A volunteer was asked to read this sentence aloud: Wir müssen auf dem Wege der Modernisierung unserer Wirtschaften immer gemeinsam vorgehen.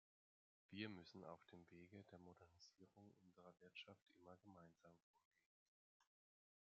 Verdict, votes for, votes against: rejected, 1, 2